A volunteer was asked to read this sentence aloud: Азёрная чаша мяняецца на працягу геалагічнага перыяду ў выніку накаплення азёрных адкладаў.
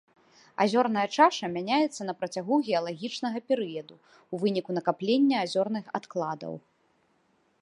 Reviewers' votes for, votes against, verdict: 2, 0, accepted